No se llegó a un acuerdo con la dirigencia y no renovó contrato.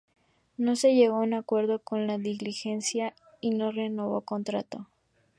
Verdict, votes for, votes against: rejected, 0, 2